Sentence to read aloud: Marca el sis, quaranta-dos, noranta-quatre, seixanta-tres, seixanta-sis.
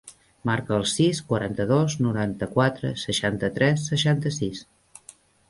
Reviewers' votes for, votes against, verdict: 3, 0, accepted